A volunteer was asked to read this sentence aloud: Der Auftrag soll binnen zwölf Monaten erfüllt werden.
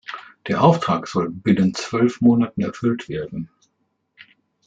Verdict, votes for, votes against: accepted, 2, 0